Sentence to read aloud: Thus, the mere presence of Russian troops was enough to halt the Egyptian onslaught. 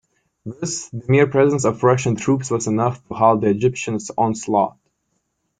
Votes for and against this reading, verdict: 2, 1, accepted